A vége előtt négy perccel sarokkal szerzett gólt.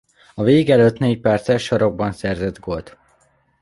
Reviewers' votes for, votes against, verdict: 0, 2, rejected